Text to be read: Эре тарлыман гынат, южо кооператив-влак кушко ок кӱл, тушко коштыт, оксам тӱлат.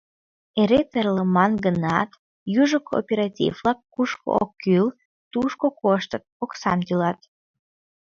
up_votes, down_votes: 1, 2